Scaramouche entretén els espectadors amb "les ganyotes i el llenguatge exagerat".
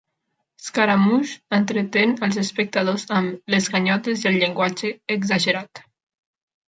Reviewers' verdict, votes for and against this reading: accepted, 2, 0